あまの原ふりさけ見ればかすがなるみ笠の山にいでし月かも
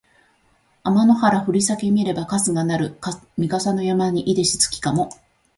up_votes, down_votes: 3, 0